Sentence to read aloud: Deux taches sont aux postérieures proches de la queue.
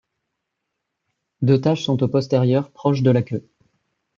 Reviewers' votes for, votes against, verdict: 2, 0, accepted